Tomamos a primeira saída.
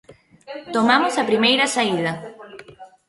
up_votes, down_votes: 1, 2